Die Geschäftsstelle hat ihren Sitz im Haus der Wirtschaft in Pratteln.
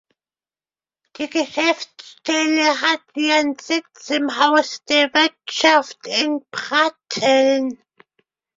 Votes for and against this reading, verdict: 2, 0, accepted